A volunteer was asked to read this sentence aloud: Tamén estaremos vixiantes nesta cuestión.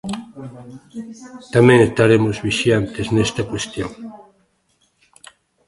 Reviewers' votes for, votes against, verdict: 1, 2, rejected